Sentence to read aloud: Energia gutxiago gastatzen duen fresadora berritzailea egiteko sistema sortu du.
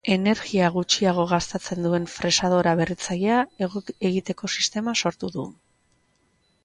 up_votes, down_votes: 0, 2